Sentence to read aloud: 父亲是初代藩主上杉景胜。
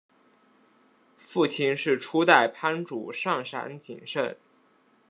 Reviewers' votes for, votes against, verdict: 1, 2, rejected